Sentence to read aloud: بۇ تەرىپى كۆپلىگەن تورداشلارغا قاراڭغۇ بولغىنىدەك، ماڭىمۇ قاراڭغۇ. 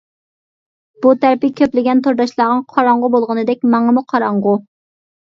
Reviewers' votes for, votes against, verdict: 2, 0, accepted